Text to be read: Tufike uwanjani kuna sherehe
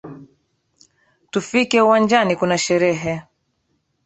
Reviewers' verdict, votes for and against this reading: accepted, 3, 0